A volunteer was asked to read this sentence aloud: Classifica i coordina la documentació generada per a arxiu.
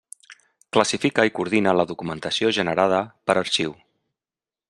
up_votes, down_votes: 2, 0